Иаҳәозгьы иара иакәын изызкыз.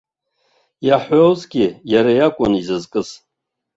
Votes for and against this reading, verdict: 1, 2, rejected